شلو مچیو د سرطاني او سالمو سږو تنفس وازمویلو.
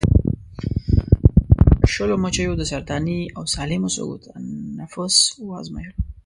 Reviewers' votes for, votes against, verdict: 0, 2, rejected